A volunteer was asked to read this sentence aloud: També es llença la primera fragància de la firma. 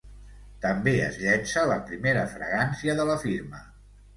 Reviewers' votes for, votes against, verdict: 2, 0, accepted